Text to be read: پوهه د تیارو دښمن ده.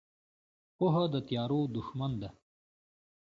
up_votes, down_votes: 2, 0